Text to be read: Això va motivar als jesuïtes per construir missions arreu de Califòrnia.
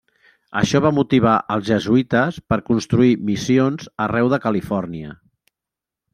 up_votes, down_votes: 2, 0